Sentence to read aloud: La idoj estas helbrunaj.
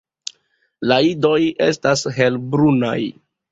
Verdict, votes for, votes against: accepted, 2, 0